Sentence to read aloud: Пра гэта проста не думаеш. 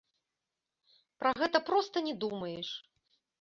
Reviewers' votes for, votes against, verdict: 2, 0, accepted